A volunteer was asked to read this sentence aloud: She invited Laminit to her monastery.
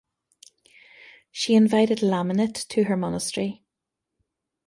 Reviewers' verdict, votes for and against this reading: accepted, 2, 0